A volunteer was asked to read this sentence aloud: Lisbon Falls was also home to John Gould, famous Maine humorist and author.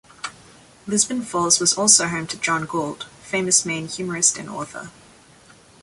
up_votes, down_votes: 2, 1